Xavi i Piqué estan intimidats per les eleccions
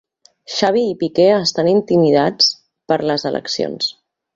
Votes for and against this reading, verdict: 2, 0, accepted